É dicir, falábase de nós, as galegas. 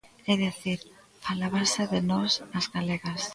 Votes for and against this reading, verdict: 1, 2, rejected